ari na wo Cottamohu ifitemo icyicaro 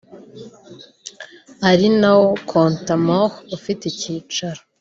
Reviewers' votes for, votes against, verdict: 0, 2, rejected